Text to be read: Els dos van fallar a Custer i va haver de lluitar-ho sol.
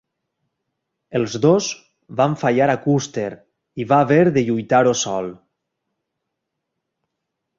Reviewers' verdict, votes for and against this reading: accepted, 3, 0